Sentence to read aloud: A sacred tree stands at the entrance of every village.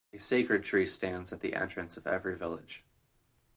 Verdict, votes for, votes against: accepted, 2, 0